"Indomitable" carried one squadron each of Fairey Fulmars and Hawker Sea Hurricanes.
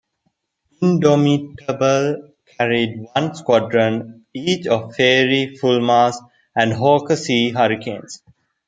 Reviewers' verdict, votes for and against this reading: accepted, 2, 1